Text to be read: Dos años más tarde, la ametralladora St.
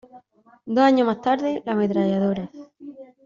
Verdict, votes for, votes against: rejected, 0, 2